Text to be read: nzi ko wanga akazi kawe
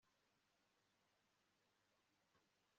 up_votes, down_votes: 0, 3